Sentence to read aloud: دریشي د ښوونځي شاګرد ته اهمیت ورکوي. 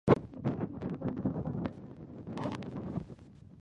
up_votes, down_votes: 0, 2